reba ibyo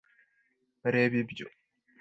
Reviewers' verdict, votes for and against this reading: accepted, 2, 0